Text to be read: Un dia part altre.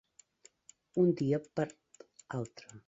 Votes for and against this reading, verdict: 0, 2, rejected